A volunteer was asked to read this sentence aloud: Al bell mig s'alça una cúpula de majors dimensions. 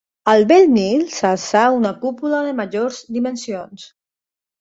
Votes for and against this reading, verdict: 2, 1, accepted